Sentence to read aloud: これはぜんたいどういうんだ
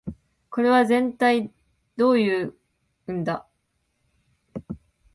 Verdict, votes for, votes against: rejected, 0, 3